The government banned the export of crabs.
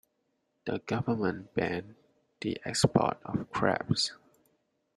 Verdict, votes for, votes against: accepted, 2, 0